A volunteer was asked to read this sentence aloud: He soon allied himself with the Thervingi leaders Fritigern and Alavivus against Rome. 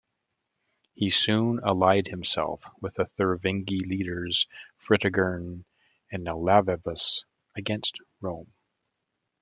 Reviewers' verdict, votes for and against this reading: accepted, 2, 0